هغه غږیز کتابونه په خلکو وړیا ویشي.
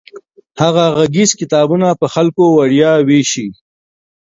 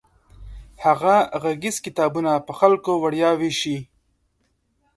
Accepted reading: second